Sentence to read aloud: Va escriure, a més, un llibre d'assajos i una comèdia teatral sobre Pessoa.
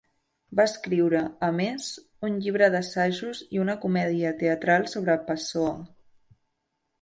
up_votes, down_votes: 2, 0